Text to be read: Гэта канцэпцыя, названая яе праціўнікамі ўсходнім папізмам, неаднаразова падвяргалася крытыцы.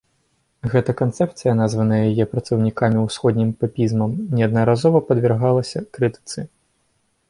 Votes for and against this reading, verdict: 1, 2, rejected